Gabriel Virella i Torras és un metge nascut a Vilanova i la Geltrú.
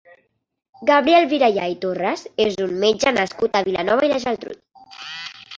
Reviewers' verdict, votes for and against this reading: accepted, 2, 1